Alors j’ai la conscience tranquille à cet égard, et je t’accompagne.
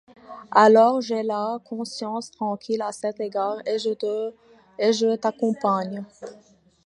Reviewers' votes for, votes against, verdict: 0, 2, rejected